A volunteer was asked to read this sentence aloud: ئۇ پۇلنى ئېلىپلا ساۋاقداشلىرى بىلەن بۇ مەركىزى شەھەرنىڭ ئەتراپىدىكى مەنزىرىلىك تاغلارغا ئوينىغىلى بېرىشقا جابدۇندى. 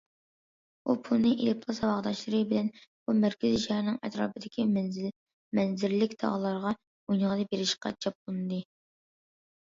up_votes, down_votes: 1, 2